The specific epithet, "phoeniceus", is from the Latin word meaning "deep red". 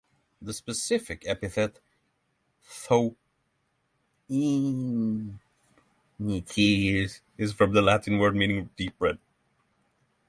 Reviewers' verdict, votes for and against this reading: rejected, 0, 3